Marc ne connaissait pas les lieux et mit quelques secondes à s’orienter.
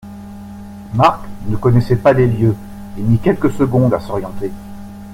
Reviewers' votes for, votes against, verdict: 2, 0, accepted